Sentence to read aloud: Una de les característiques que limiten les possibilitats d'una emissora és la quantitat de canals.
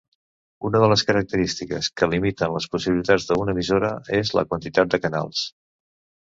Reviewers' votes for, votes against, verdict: 2, 0, accepted